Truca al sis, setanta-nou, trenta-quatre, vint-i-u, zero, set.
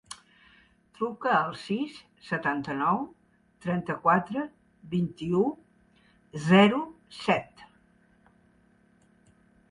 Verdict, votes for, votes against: accepted, 4, 0